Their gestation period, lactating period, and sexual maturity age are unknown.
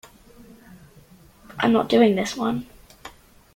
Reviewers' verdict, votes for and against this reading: rejected, 0, 2